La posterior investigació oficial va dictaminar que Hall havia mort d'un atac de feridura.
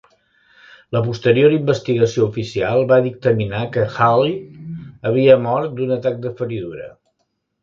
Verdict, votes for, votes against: rejected, 0, 2